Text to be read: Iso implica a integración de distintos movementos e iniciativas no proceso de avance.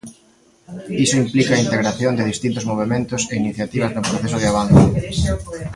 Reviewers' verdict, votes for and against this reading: accepted, 2, 1